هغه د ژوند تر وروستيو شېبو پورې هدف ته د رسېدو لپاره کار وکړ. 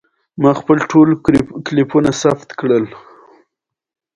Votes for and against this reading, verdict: 0, 2, rejected